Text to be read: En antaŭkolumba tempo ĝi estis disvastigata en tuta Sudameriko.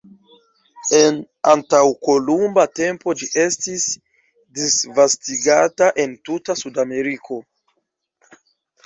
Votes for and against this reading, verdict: 2, 0, accepted